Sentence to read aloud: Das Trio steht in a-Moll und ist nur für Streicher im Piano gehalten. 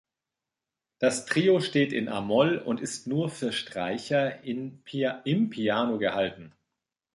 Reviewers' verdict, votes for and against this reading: rejected, 0, 2